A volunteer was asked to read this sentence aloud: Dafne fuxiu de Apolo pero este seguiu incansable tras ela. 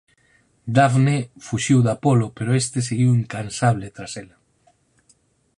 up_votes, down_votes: 4, 0